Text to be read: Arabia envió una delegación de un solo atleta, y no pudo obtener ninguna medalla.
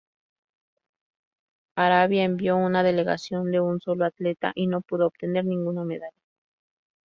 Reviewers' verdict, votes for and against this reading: accepted, 4, 0